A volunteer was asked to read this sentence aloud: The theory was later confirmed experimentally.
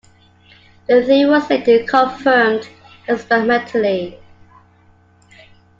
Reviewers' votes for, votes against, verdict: 0, 2, rejected